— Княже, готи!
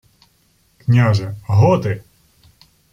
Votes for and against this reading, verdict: 0, 2, rejected